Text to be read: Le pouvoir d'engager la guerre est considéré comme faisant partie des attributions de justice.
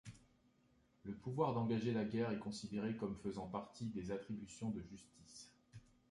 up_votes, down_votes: 2, 0